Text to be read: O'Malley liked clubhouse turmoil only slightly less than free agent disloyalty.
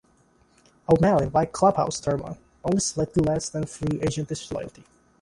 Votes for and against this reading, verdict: 1, 2, rejected